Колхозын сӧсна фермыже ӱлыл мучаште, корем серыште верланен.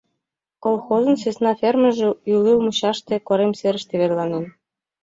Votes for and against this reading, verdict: 2, 0, accepted